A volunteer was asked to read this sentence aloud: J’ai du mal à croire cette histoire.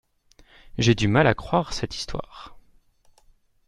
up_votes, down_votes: 2, 0